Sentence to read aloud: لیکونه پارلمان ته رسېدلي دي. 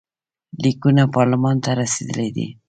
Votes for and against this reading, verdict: 2, 0, accepted